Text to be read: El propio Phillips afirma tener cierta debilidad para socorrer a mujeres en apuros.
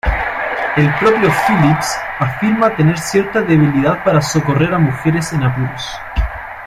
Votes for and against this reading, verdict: 1, 2, rejected